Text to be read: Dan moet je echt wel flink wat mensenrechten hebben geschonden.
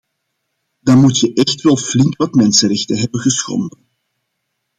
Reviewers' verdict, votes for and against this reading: accepted, 2, 0